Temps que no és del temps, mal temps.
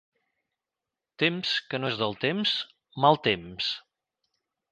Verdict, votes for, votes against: accepted, 2, 0